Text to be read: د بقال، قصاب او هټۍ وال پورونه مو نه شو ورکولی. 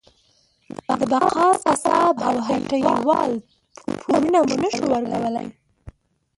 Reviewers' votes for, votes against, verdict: 0, 2, rejected